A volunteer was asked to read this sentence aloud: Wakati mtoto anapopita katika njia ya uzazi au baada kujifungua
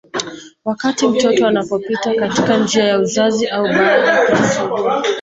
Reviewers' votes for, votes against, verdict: 0, 2, rejected